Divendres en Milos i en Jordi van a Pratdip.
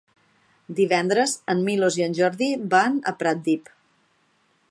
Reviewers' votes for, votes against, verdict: 5, 0, accepted